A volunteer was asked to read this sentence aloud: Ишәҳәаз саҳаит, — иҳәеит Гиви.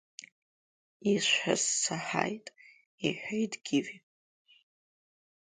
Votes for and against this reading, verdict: 2, 3, rejected